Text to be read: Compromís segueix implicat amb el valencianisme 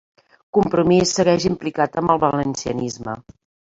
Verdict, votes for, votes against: accepted, 4, 1